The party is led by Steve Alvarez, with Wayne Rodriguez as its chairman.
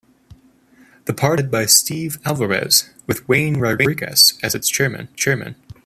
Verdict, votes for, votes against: rejected, 1, 2